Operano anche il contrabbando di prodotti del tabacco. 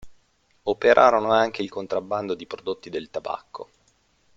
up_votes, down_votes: 0, 2